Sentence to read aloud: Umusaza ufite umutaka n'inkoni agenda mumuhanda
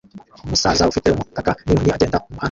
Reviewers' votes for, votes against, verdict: 1, 2, rejected